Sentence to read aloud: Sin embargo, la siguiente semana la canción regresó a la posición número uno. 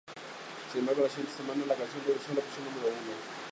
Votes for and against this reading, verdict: 2, 2, rejected